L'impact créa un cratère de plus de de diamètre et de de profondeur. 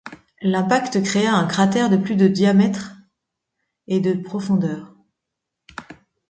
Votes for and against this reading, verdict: 0, 2, rejected